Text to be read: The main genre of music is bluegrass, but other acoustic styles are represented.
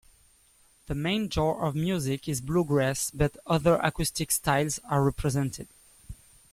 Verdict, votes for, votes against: accepted, 2, 0